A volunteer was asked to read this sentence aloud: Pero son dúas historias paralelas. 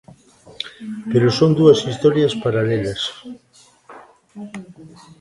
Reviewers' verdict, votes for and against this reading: accepted, 2, 0